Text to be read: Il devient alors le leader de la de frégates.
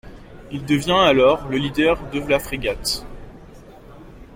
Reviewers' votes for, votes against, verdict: 0, 2, rejected